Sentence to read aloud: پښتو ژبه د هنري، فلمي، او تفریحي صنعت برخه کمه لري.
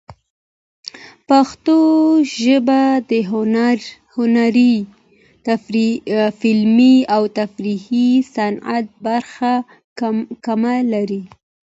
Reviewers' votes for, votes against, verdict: 0, 2, rejected